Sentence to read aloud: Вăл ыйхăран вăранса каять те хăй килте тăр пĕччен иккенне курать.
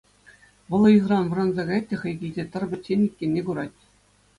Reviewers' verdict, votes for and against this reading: accepted, 2, 0